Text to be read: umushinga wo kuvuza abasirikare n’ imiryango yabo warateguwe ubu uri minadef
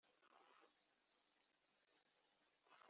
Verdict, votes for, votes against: rejected, 0, 3